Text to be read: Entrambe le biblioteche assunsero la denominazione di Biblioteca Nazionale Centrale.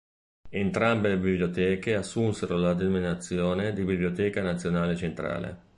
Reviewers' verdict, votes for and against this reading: rejected, 1, 2